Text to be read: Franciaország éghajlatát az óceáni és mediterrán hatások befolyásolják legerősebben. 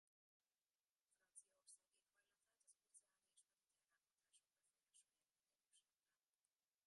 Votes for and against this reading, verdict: 0, 2, rejected